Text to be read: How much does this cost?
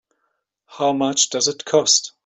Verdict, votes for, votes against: rejected, 0, 2